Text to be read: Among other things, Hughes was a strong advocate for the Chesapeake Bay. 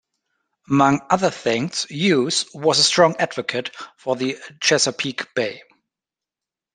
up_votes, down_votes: 0, 2